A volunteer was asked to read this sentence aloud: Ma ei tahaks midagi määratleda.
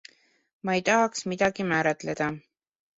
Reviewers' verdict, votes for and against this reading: accepted, 2, 0